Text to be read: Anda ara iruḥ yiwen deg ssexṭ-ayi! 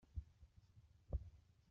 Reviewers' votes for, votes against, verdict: 0, 2, rejected